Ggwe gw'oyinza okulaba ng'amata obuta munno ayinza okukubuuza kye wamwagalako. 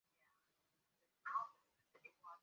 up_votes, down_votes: 0, 2